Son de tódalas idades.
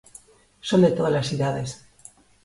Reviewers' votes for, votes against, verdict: 2, 0, accepted